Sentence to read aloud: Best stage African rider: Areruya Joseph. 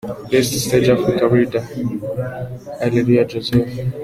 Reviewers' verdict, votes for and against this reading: accepted, 2, 0